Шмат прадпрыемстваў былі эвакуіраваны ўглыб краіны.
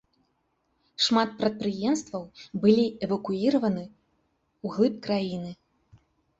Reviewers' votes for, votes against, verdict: 3, 0, accepted